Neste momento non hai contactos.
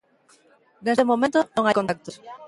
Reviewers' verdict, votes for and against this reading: rejected, 0, 2